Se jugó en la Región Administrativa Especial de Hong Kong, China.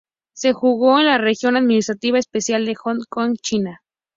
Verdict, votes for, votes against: accepted, 2, 0